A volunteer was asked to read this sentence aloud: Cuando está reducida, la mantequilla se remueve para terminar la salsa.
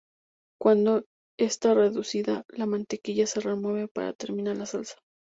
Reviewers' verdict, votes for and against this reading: rejected, 2, 2